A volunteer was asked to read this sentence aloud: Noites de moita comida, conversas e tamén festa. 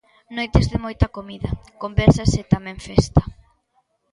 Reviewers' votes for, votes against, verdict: 2, 0, accepted